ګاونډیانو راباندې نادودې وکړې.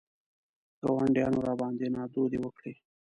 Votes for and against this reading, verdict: 2, 0, accepted